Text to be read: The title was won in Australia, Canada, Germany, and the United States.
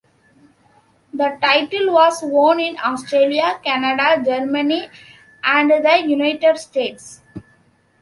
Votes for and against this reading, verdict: 2, 0, accepted